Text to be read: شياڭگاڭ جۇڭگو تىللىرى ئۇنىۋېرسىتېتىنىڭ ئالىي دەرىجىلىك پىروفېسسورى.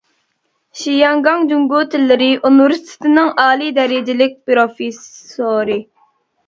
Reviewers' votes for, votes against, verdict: 1, 2, rejected